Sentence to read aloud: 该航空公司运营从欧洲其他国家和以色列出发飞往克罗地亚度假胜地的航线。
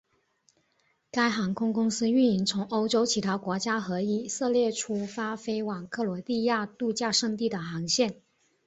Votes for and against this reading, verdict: 2, 0, accepted